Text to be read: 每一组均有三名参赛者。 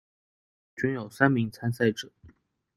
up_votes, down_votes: 0, 2